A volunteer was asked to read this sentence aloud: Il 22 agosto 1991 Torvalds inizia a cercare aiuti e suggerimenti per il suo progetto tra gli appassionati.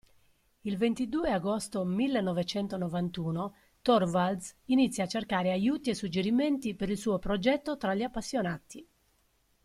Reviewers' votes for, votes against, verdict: 0, 2, rejected